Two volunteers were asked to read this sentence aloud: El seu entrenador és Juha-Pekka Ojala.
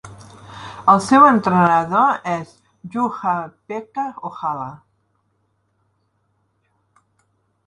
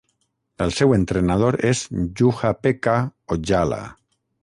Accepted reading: first